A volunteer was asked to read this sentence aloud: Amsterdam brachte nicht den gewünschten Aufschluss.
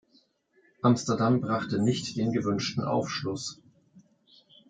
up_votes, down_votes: 2, 1